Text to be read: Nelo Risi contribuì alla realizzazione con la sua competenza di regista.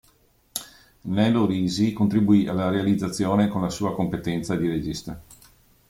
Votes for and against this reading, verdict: 2, 0, accepted